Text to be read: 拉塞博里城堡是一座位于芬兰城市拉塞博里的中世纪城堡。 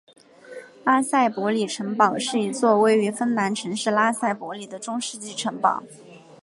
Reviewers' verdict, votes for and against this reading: accepted, 2, 0